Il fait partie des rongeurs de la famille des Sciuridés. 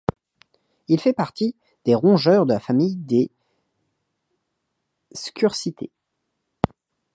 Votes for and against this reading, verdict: 0, 2, rejected